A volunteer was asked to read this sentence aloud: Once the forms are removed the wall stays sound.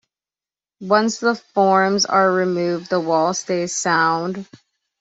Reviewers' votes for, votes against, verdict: 2, 0, accepted